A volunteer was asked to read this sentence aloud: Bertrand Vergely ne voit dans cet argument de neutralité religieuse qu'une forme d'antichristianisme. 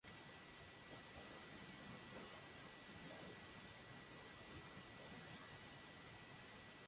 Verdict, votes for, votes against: rejected, 0, 2